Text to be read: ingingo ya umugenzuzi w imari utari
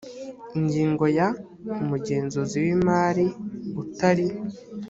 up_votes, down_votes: 2, 0